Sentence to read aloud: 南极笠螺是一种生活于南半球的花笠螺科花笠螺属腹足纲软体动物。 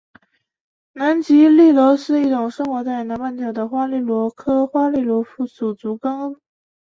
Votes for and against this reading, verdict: 0, 2, rejected